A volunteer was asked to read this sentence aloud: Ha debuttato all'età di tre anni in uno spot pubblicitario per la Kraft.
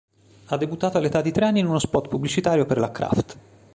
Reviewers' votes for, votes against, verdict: 2, 0, accepted